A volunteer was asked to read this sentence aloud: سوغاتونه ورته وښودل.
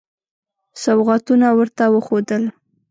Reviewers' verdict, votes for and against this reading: accepted, 2, 0